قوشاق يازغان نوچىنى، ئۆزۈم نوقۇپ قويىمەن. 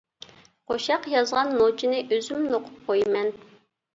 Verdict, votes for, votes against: accepted, 2, 1